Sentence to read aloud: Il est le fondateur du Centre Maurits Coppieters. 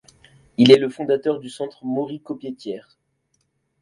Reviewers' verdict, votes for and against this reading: accepted, 2, 0